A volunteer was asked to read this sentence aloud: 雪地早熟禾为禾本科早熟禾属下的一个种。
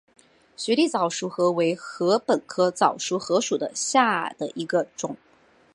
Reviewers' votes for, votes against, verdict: 2, 0, accepted